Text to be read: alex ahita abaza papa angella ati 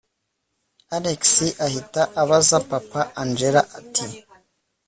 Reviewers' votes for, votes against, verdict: 2, 0, accepted